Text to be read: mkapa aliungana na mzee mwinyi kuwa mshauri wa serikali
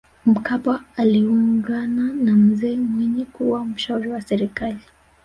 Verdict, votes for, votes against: rejected, 1, 2